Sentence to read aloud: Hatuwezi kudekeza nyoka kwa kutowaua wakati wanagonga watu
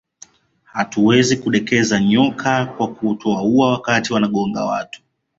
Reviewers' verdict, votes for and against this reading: accepted, 2, 0